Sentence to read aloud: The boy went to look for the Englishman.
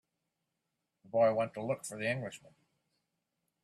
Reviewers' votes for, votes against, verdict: 1, 2, rejected